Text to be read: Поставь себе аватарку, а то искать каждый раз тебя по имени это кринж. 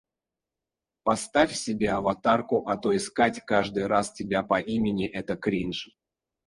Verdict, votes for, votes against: rejected, 2, 4